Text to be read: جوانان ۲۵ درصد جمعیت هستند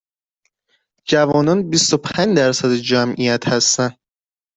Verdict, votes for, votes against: rejected, 0, 2